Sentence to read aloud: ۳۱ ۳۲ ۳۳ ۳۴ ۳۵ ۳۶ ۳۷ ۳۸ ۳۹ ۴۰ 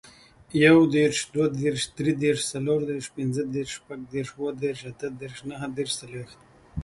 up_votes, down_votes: 0, 2